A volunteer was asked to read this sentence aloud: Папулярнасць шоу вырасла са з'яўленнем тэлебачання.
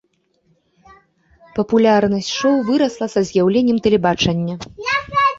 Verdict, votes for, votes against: rejected, 1, 2